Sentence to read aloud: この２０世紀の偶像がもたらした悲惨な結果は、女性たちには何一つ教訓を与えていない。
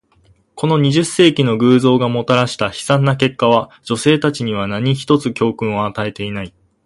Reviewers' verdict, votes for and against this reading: rejected, 0, 2